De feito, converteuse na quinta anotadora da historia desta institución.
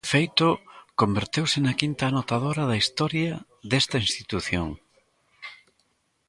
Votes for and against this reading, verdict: 1, 2, rejected